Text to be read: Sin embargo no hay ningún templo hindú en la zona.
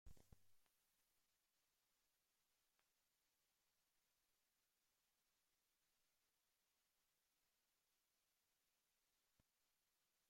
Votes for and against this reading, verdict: 0, 2, rejected